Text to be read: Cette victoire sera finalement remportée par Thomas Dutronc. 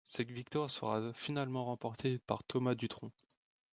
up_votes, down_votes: 2, 1